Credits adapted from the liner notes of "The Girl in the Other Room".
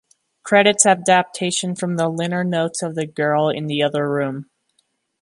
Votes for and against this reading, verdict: 1, 2, rejected